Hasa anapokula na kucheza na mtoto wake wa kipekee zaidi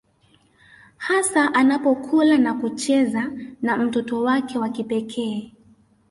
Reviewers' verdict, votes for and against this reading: rejected, 1, 2